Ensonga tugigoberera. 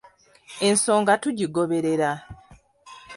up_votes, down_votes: 2, 0